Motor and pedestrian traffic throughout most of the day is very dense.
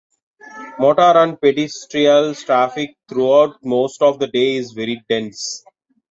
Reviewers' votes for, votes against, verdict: 1, 2, rejected